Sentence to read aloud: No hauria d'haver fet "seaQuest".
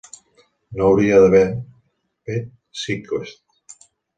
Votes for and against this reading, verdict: 0, 2, rejected